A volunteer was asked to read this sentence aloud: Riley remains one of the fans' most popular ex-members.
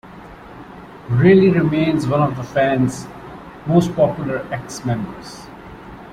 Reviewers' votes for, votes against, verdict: 0, 3, rejected